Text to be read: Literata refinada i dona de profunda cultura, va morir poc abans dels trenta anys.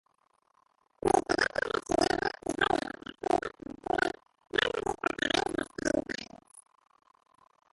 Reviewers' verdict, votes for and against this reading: rejected, 0, 2